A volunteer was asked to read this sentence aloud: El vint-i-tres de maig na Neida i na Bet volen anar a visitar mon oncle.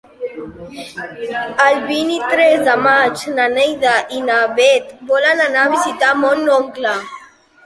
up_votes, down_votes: 1, 2